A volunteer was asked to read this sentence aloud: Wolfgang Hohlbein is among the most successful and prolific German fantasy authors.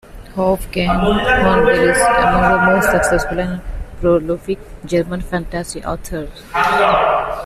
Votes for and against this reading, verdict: 0, 2, rejected